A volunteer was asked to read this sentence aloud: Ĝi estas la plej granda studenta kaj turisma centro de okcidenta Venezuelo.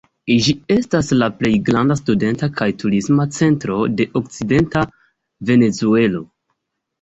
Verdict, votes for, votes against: rejected, 1, 2